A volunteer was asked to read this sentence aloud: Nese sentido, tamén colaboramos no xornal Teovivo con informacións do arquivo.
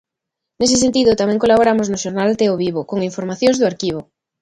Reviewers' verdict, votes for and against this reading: accepted, 2, 0